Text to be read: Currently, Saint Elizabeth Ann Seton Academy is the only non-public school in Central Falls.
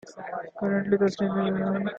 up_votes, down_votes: 0, 2